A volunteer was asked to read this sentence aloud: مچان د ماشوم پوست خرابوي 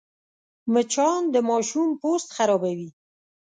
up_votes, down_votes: 2, 0